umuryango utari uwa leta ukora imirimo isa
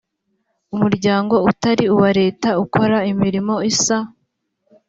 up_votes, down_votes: 2, 0